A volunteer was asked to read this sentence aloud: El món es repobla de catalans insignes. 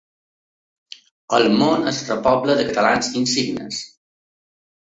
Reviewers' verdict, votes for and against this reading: accepted, 2, 0